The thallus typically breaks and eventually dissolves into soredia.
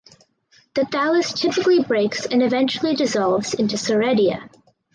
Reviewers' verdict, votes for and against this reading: accepted, 4, 0